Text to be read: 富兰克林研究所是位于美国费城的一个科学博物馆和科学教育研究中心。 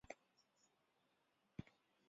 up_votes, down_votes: 2, 0